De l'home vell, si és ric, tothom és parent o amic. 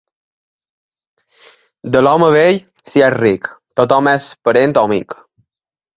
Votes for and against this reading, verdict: 2, 1, accepted